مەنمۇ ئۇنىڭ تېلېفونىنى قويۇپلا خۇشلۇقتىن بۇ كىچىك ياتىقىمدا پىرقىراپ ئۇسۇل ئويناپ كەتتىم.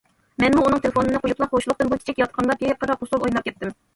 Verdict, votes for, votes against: rejected, 0, 2